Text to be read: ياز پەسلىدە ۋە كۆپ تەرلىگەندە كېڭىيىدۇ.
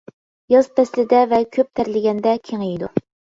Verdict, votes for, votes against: accepted, 2, 0